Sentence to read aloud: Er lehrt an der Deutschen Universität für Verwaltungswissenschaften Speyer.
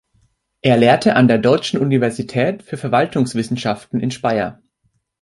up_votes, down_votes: 0, 3